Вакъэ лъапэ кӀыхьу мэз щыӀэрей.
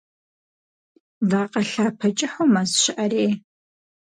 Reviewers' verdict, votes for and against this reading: accepted, 4, 0